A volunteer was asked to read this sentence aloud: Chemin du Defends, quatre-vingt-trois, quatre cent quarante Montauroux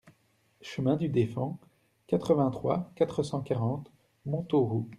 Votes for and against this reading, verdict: 2, 0, accepted